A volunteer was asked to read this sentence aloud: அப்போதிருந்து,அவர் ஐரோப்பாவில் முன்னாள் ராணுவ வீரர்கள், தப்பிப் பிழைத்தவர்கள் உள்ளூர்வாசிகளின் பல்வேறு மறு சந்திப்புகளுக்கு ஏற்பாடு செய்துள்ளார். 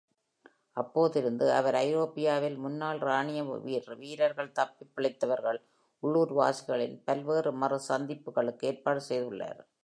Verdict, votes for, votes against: rejected, 0, 2